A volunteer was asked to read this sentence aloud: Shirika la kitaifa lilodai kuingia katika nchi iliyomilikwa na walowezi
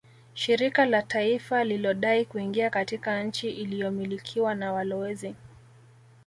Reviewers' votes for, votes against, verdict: 1, 2, rejected